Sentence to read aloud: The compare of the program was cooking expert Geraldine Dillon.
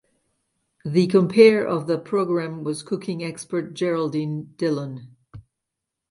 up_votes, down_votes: 2, 0